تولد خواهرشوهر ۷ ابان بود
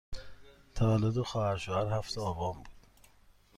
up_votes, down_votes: 0, 2